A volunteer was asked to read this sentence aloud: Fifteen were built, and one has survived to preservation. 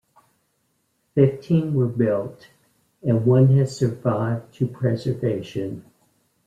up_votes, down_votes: 2, 0